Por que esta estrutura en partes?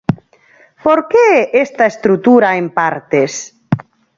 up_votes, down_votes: 8, 0